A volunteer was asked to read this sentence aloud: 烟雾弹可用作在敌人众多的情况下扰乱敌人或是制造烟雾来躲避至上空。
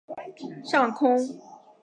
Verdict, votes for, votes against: rejected, 1, 5